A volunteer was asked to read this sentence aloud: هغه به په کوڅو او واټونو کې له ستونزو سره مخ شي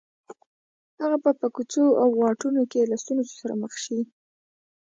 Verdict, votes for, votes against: rejected, 1, 2